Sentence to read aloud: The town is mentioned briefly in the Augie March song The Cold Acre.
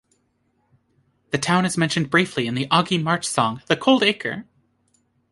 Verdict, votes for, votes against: accepted, 2, 0